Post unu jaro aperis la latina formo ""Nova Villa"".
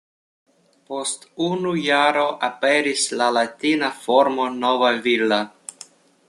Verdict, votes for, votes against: rejected, 1, 2